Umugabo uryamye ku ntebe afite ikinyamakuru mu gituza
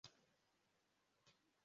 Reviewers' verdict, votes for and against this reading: rejected, 0, 2